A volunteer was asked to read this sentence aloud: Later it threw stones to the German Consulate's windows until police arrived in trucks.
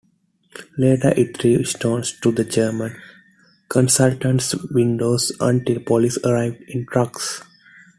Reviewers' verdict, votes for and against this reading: accepted, 2, 1